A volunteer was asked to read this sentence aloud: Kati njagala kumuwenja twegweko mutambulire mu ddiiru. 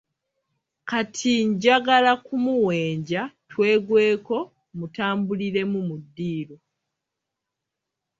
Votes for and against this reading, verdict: 2, 0, accepted